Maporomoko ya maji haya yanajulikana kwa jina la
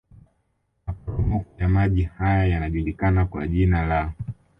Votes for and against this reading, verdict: 2, 0, accepted